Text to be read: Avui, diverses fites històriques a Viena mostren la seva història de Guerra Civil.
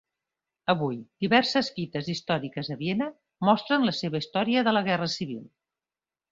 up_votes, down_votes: 0, 4